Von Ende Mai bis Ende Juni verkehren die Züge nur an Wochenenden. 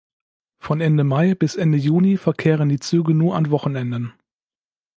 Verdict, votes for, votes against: accepted, 2, 0